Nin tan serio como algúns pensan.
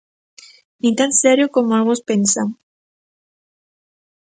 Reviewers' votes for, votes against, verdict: 2, 0, accepted